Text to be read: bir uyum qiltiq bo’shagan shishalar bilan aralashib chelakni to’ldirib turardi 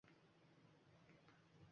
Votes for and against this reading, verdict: 1, 2, rejected